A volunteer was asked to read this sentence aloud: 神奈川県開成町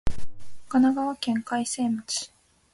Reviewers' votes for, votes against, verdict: 2, 0, accepted